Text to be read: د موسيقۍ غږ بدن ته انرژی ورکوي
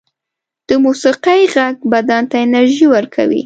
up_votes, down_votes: 2, 0